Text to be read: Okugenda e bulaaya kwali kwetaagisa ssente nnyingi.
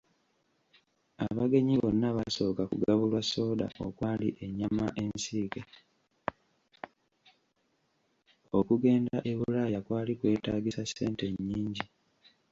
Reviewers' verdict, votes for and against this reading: rejected, 1, 2